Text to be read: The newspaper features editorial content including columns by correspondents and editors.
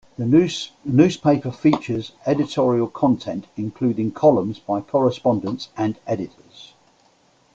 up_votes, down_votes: 2, 0